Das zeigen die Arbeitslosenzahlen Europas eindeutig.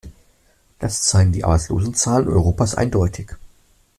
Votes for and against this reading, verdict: 1, 2, rejected